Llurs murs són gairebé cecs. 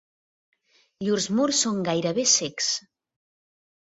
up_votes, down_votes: 2, 0